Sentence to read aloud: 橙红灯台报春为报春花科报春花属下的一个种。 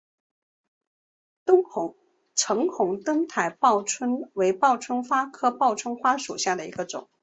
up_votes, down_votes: 0, 2